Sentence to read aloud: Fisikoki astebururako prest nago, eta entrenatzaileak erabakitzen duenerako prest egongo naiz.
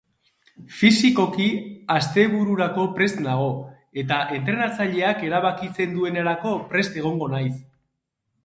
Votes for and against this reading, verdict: 2, 0, accepted